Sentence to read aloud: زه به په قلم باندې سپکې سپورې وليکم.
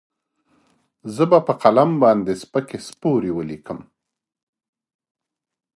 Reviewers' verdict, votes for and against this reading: rejected, 1, 2